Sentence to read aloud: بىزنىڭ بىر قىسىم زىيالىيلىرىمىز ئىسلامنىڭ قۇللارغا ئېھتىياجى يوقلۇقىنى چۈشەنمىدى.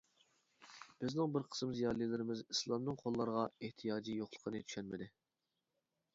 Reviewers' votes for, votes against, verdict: 2, 1, accepted